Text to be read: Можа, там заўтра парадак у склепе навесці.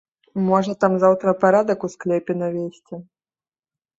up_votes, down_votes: 2, 0